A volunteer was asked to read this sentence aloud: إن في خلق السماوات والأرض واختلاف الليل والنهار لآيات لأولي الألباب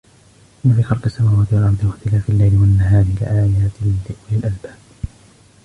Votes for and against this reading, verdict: 2, 1, accepted